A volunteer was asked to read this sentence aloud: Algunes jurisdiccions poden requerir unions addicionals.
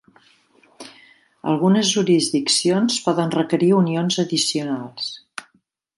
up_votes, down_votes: 3, 0